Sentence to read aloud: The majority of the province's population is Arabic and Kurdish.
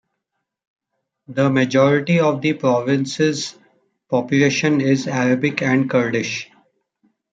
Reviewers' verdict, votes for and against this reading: accepted, 2, 0